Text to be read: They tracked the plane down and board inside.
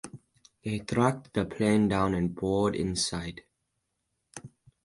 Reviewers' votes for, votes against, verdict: 4, 0, accepted